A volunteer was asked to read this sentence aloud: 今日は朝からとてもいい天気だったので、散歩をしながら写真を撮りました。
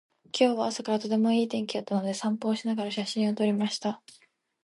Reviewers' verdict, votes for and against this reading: accepted, 2, 0